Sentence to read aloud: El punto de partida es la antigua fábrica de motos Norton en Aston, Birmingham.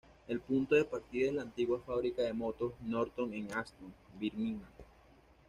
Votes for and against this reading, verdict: 2, 0, accepted